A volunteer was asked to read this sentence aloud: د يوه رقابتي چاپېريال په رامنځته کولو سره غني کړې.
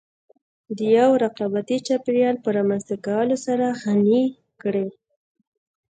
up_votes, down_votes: 2, 0